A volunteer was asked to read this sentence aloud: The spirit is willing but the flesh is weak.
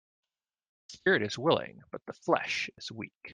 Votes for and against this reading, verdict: 2, 1, accepted